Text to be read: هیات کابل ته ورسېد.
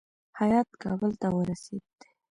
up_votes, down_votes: 0, 2